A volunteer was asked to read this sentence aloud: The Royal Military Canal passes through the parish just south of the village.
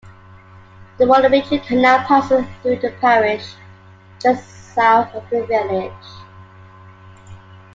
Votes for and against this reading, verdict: 1, 2, rejected